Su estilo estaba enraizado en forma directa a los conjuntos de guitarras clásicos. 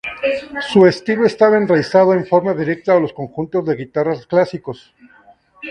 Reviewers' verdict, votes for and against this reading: accepted, 2, 0